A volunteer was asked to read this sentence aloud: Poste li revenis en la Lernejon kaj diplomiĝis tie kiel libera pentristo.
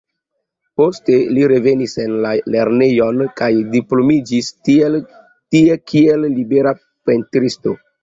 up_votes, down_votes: 0, 2